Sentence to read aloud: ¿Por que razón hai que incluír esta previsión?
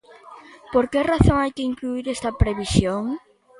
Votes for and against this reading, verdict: 2, 0, accepted